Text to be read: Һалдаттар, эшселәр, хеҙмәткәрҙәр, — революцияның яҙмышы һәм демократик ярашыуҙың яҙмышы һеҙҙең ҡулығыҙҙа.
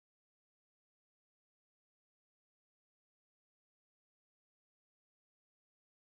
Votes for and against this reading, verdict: 0, 2, rejected